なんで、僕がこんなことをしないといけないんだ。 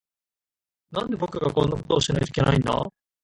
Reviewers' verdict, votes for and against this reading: accepted, 2, 1